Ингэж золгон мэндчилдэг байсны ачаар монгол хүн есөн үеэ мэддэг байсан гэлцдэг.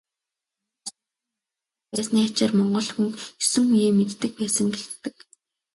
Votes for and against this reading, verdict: 0, 2, rejected